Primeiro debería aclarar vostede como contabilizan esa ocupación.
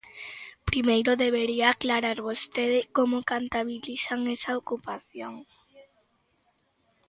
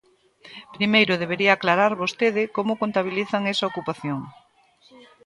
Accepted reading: second